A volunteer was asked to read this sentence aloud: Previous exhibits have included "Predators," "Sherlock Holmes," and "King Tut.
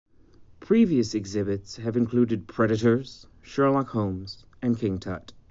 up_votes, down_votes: 3, 0